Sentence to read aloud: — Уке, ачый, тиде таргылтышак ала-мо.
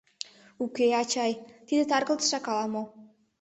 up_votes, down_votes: 1, 2